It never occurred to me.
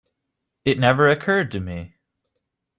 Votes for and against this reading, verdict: 2, 0, accepted